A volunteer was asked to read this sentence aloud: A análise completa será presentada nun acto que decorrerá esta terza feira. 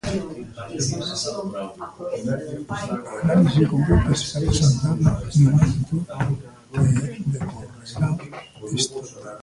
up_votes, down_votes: 0, 2